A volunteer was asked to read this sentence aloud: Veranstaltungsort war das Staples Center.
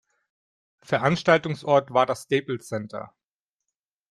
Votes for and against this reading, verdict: 2, 0, accepted